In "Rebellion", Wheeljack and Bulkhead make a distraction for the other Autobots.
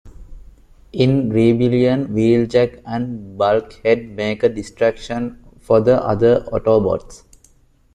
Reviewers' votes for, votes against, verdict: 2, 1, accepted